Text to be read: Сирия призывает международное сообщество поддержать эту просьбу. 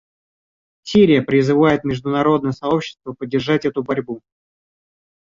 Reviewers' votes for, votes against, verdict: 0, 2, rejected